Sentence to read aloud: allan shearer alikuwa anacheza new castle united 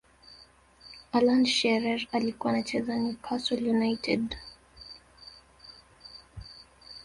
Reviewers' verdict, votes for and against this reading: rejected, 0, 2